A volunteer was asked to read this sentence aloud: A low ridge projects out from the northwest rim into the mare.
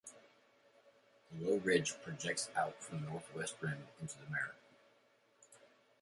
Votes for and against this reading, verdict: 2, 1, accepted